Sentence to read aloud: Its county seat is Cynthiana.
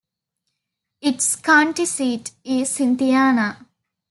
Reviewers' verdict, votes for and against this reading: accepted, 2, 0